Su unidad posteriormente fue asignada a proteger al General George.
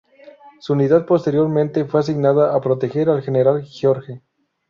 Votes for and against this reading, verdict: 2, 2, rejected